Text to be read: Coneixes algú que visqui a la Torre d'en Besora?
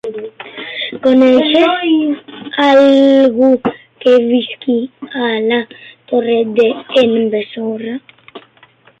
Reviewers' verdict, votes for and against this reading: rejected, 0, 2